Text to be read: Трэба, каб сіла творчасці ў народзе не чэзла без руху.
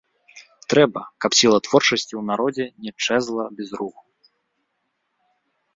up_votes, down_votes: 2, 0